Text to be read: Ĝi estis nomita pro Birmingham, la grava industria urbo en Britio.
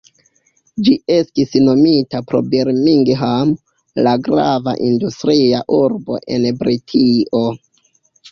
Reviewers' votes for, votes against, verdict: 0, 2, rejected